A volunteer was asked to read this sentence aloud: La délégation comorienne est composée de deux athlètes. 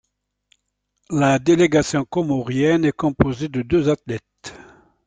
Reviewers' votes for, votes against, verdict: 2, 1, accepted